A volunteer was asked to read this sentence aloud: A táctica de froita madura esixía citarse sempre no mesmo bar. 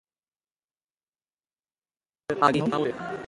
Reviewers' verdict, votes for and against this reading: rejected, 0, 2